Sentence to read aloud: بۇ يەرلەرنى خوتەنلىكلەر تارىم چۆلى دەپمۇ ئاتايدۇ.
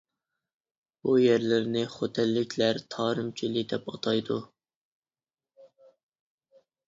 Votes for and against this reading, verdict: 0, 2, rejected